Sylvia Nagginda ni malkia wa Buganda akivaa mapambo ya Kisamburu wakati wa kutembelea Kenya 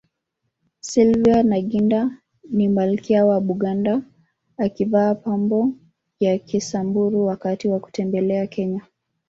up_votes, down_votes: 2, 4